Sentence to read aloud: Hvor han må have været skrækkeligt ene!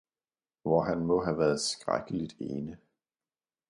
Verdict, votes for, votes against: accepted, 2, 0